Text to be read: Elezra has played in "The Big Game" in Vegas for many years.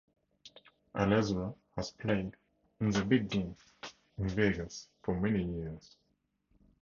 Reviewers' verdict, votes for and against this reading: rejected, 2, 2